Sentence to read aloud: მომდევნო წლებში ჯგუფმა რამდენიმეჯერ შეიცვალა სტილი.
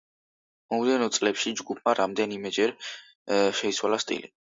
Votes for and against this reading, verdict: 2, 0, accepted